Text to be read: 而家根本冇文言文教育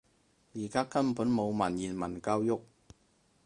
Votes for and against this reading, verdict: 4, 0, accepted